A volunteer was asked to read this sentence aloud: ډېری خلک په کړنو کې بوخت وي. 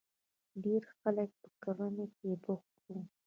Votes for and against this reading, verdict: 1, 2, rejected